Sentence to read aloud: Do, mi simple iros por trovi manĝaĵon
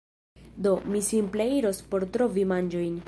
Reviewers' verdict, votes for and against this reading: rejected, 1, 2